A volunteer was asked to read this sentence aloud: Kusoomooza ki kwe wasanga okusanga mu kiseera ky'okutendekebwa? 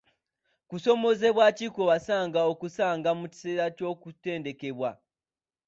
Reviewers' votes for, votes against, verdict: 2, 1, accepted